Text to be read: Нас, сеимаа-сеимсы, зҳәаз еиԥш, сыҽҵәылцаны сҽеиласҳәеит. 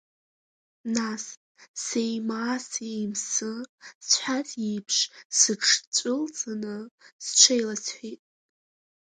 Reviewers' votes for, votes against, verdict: 7, 4, accepted